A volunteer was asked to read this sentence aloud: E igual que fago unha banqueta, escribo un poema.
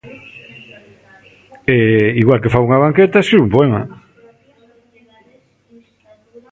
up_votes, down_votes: 2, 0